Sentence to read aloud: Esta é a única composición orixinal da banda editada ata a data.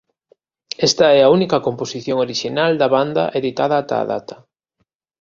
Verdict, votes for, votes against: accepted, 2, 0